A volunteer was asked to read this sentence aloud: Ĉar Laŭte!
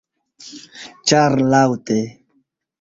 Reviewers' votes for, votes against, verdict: 1, 2, rejected